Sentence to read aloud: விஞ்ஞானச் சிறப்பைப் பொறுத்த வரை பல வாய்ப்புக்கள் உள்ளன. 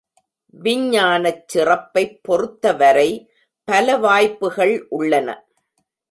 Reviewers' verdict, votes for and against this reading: rejected, 0, 2